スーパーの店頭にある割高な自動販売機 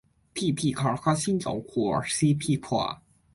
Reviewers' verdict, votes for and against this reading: rejected, 0, 2